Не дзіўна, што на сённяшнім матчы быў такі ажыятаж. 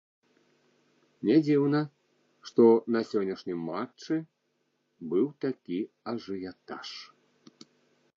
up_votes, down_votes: 0, 2